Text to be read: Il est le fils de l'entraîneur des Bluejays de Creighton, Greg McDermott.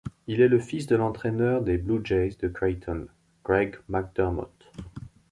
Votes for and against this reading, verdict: 2, 0, accepted